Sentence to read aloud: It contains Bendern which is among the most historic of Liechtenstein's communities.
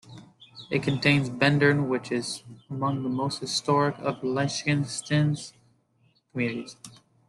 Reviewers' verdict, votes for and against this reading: rejected, 0, 2